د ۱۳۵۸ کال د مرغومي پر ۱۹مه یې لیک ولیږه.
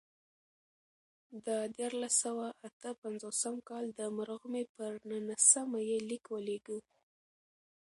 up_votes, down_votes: 0, 2